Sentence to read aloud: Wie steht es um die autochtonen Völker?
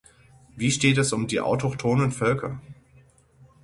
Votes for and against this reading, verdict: 6, 0, accepted